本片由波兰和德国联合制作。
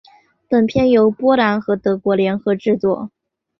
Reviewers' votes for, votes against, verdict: 2, 1, accepted